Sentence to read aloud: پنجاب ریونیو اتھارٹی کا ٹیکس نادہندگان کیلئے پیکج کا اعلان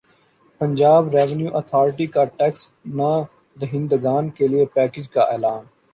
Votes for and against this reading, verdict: 2, 0, accepted